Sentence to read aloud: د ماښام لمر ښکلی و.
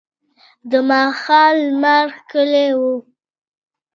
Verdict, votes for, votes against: rejected, 0, 2